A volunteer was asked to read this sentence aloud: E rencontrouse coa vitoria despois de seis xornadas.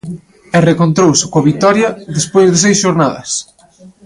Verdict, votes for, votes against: rejected, 1, 2